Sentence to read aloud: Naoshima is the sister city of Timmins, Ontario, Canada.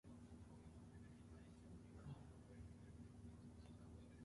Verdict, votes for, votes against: rejected, 0, 3